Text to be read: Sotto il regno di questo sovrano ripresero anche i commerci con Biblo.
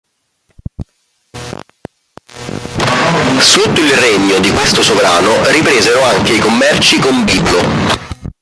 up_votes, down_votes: 1, 2